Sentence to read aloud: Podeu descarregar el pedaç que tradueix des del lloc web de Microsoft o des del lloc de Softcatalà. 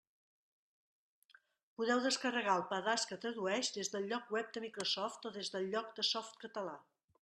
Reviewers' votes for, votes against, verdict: 2, 0, accepted